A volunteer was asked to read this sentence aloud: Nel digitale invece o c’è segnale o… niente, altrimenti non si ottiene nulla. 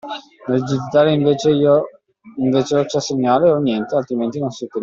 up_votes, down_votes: 0, 2